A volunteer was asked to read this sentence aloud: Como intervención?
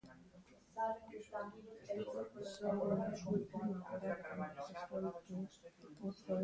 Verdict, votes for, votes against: rejected, 0, 2